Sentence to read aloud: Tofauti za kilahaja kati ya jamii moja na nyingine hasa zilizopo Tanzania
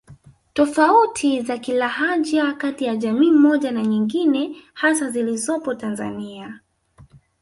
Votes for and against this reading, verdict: 8, 0, accepted